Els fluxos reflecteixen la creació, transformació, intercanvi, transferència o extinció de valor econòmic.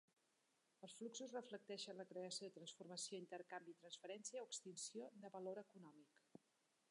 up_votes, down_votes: 2, 0